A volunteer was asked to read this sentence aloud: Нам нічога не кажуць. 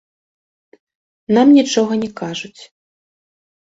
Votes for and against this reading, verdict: 1, 2, rejected